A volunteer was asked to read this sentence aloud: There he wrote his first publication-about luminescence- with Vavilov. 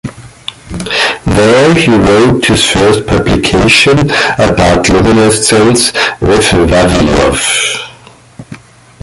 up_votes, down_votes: 2, 1